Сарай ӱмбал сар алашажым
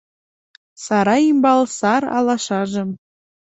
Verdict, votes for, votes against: accepted, 2, 0